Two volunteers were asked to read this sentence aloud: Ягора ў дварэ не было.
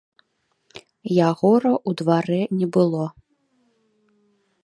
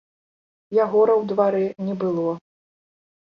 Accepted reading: second